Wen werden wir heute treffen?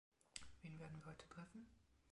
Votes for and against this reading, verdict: 1, 2, rejected